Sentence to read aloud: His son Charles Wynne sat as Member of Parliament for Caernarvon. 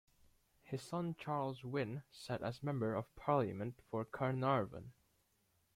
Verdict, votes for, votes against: rejected, 0, 2